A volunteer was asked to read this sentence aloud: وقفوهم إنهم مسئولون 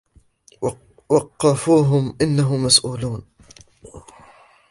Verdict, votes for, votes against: rejected, 1, 2